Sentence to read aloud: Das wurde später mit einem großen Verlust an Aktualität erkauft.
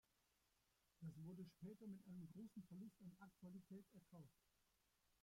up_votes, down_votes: 0, 2